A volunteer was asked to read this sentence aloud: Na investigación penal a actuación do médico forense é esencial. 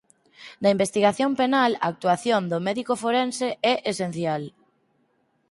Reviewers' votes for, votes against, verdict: 4, 0, accepted